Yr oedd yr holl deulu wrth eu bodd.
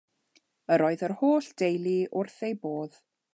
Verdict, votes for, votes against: accepted, 2, 0